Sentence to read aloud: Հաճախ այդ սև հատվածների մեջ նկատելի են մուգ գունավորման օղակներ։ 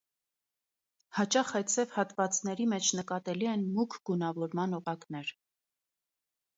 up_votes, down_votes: 2, 0